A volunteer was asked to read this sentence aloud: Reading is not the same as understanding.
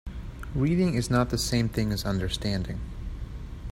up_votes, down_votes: 1, 2